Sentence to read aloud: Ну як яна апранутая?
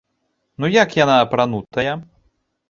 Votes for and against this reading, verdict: 0, 2, rejected